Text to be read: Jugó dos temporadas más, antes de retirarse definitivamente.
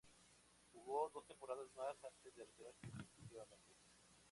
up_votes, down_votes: 0, 2